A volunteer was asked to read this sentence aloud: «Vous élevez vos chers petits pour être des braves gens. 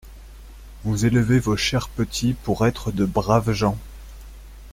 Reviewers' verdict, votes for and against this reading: rejected, 1, 2